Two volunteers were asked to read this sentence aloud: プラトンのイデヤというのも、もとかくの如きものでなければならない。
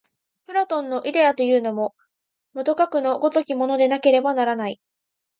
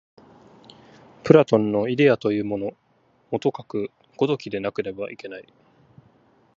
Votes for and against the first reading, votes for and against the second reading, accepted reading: 2, 0, 1, 2, first